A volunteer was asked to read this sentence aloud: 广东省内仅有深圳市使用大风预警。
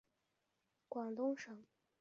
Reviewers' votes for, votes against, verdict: 1, 2, rejected